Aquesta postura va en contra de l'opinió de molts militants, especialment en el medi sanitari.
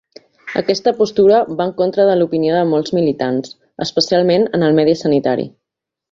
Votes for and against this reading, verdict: 2, 0, accepted